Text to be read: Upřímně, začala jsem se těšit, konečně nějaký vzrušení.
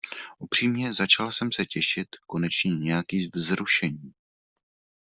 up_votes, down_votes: 1, 2